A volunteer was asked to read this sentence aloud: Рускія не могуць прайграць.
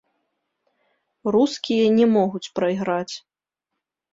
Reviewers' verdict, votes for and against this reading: accepted, 2, 1